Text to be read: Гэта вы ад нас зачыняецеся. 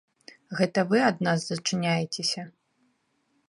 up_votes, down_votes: 2, 1